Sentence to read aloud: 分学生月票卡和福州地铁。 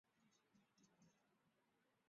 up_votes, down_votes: 1, 2